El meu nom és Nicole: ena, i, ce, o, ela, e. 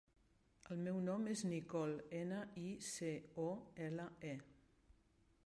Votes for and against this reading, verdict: 0, 2, rejected